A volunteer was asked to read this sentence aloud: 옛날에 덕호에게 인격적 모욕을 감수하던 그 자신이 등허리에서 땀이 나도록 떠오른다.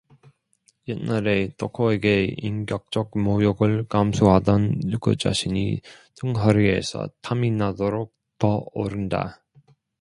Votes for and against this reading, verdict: 2, 1, accepted